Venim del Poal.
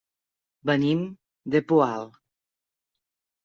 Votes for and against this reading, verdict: 1, 2, rejected